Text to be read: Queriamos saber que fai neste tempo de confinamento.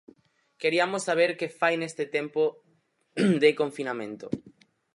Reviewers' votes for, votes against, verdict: 2, 4, rejected